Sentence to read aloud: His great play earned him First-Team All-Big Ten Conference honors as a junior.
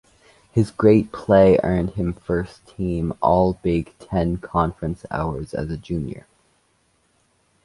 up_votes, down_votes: 2, 1